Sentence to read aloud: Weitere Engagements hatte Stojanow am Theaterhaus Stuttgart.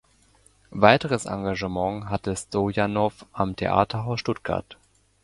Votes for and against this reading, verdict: 0, 2, rejected